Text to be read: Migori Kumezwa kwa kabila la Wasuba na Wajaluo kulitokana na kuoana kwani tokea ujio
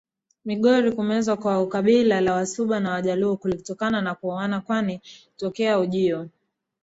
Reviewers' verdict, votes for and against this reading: accepted, 2, 0